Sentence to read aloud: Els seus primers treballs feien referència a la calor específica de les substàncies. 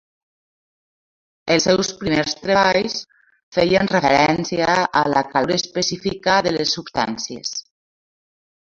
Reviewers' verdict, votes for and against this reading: rejected, 1, 2